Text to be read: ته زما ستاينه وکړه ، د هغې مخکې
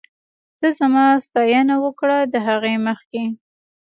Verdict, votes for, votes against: accepted, 3, 2